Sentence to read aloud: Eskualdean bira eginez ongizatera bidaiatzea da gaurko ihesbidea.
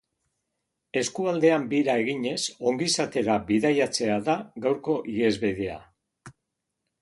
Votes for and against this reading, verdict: 1, 2, rejected